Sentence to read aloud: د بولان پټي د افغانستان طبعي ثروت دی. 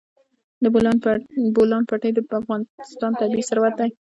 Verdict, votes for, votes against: rejected, 1, 2